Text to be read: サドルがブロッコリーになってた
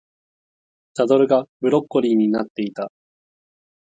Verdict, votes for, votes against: rejected, 0, 4